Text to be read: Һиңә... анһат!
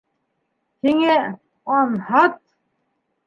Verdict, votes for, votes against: accepted, 2, 0